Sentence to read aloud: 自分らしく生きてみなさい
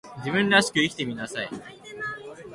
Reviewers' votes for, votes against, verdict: 2, 0, accepted